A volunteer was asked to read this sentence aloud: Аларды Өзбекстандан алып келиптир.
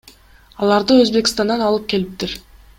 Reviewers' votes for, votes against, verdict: 2, 0, accepted